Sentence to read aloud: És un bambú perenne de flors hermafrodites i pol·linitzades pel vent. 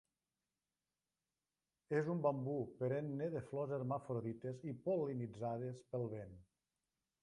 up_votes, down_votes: 2, 1